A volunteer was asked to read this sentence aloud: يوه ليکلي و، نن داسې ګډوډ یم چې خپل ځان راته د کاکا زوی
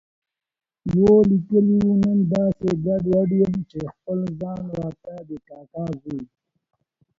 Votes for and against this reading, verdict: 0, 2, rejected